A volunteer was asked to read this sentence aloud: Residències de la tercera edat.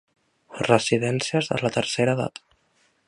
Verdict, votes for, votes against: accepted, 2, 0